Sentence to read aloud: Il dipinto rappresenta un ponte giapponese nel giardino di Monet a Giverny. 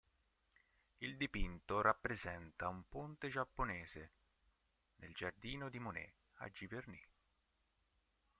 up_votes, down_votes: 2, 3